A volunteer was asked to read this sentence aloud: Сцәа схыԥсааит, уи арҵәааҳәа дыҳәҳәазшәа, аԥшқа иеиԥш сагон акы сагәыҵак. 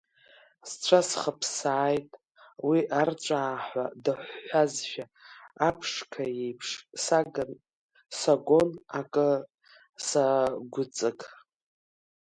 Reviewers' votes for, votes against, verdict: 0, 2, rejected